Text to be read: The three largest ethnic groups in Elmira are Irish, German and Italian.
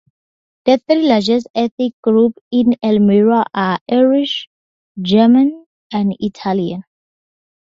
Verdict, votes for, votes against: accepted, 6, 0